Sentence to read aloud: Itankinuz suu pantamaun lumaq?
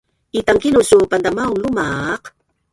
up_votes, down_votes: 1, 2